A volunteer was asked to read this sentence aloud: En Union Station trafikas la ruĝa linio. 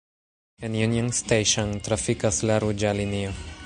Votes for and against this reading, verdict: 0, 2, rejected